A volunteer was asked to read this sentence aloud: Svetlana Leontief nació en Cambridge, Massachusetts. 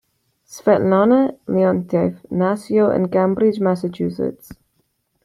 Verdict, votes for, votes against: accepted, 2, 1